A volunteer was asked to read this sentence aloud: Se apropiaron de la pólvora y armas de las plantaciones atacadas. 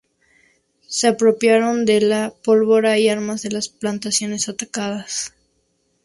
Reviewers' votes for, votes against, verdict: 4, 0, accepted